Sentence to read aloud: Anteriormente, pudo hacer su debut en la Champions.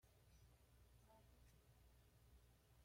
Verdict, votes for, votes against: rejected, 0, 2